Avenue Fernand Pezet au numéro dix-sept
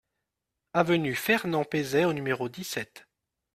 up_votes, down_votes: 2, 0